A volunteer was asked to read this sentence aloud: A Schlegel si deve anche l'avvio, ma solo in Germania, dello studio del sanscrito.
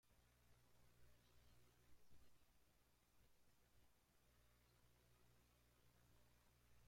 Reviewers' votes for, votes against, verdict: 0, 2, rejected